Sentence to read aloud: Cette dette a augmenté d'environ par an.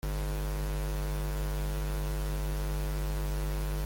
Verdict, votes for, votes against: rejected, 0, 2